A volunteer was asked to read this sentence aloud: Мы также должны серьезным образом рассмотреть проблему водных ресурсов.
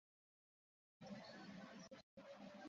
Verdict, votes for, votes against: rejected, 0, 2